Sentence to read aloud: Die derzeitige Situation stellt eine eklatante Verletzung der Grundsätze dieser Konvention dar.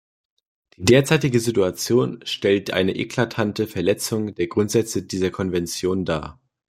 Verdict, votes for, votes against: rejected, 1, 2